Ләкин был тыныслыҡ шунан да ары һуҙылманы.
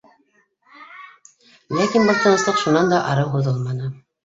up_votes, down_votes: 0, 2